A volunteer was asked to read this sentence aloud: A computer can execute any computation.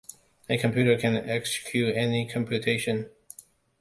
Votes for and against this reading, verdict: 2, 0, accepted